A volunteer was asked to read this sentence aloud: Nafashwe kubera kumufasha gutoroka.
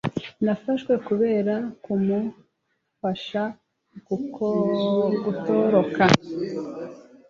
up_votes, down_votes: 0, 2